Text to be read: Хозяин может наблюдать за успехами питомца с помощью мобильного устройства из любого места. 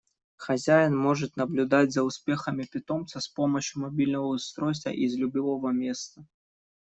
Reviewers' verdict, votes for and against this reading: rejected, 1, 2